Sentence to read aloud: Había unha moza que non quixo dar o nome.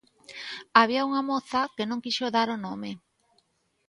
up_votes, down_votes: 2, 0